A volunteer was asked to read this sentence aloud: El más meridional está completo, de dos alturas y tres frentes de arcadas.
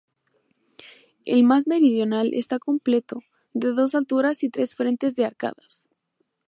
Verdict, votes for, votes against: accepted, 4, 0